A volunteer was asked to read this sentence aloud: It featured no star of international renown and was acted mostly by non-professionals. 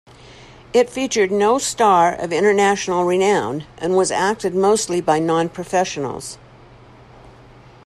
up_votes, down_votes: 2, 0